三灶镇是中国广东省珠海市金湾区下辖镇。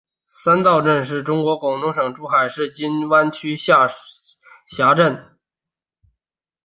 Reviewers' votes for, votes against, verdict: 2, 0, accepted